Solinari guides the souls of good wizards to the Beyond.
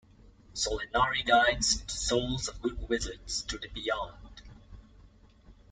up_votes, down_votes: 2, 0